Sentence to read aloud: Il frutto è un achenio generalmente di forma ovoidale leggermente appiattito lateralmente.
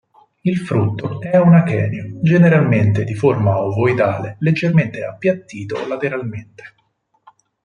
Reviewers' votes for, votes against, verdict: 4, 0, accepted